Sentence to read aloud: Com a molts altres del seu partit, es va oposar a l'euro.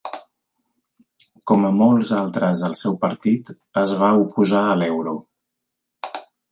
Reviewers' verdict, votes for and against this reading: accepted, 3, 0